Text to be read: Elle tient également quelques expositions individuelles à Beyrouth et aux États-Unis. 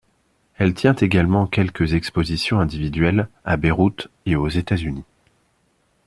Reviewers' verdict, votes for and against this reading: accepted, 2, 0